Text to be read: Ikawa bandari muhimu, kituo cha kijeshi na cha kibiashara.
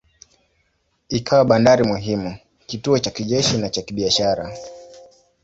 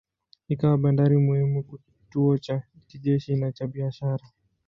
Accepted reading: first